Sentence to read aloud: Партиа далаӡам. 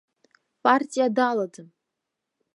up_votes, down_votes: 2, 0